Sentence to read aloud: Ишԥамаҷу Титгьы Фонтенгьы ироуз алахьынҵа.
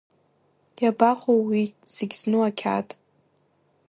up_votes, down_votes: 1, 2